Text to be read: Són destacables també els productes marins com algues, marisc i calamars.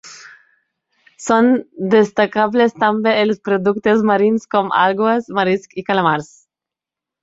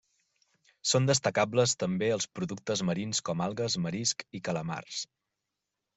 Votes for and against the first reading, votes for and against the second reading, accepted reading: 1, 2, 3, 0, second